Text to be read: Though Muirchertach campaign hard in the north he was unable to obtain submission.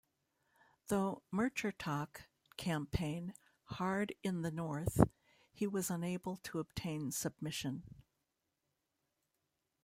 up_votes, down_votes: 1, 2